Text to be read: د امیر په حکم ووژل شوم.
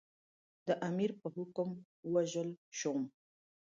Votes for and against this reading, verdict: 0, 2, rejected